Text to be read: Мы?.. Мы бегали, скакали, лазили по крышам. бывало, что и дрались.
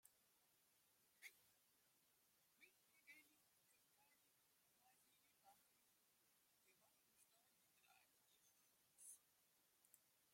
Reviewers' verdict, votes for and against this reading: rejected, 0, 2